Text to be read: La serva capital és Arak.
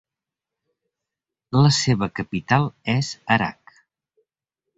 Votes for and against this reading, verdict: 0, 2, rejected